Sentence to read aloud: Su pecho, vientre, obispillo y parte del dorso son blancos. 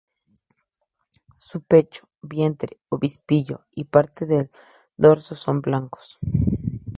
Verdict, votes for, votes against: accepted, 2, 0